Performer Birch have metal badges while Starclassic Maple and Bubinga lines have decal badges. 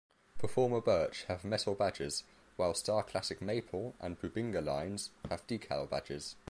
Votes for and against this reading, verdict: 2, 0, accepted